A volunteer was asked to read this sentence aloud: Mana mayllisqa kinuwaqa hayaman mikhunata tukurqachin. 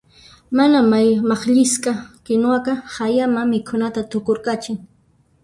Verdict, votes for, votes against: rejected, 1, 2